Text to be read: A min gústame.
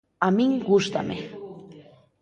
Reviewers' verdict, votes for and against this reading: rejected, 1, 2